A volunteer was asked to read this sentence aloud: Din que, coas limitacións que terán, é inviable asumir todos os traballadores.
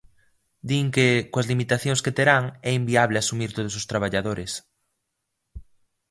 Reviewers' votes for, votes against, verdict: 2, 0, accepted